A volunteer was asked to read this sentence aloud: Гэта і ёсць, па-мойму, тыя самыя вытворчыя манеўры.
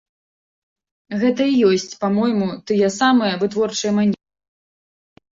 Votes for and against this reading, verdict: 1, 3, rejected